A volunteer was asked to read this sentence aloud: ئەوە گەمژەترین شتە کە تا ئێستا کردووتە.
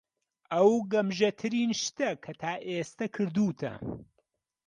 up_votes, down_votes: 1, 6